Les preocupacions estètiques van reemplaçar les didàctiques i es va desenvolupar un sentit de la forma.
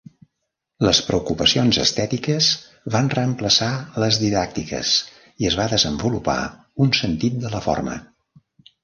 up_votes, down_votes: 0, 2